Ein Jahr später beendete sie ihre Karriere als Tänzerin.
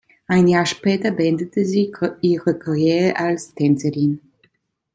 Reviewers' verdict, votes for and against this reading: rejected, 1, 2